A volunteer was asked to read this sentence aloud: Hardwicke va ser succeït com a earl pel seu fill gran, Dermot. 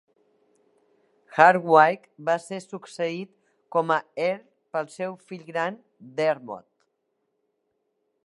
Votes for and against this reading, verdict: 2, 0, accepted